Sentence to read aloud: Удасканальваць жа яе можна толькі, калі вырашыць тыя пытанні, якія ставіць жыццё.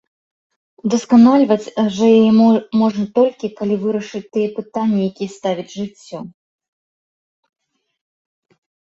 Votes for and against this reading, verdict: 0, 2, rejected